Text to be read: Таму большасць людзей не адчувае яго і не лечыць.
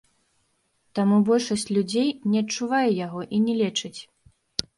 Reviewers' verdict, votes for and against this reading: accepted, 2, 0